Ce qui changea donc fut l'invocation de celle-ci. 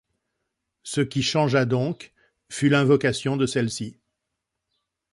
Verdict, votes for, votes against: accepted, 2, 0